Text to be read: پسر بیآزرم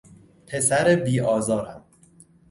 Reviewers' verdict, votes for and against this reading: rejected, 0, 2